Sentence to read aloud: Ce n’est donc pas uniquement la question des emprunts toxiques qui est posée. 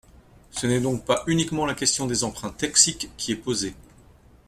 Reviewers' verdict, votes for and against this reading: accepted, 2, 1